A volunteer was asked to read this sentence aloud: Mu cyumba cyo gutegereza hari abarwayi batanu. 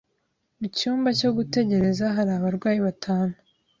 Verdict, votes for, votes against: accepted, 2, 0